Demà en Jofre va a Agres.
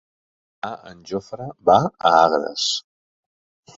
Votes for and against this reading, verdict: 0, 3, rejected